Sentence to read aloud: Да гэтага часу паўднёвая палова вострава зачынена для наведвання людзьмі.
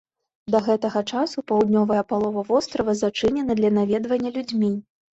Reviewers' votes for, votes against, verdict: 2, 0, accepted